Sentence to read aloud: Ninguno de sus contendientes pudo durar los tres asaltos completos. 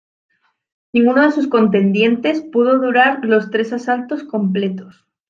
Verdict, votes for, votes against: accepted, 2, 0